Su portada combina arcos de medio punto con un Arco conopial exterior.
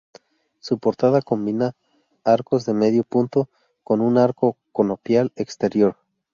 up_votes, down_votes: 4, 0